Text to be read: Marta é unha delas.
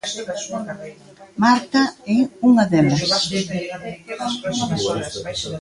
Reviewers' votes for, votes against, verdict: 1, 2, rejected